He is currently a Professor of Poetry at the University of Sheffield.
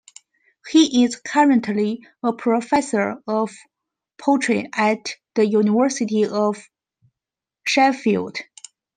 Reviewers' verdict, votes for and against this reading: accepted, 2, 0